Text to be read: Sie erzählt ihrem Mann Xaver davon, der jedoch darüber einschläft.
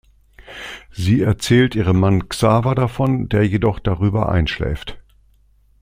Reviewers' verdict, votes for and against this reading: accepted, 2, 0